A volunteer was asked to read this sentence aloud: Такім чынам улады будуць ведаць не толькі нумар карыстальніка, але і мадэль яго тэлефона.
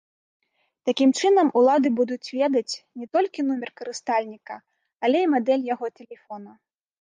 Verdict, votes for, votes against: rejected, 0, 2